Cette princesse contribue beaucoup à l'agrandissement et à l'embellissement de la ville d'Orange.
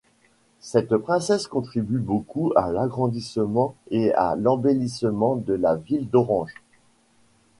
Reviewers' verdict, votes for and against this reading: accepted, 2, 1